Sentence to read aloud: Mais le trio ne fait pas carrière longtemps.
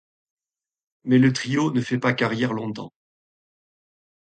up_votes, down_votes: 2, 0